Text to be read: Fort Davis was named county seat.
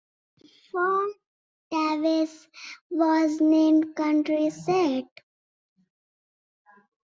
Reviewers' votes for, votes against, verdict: 2, 1, accepted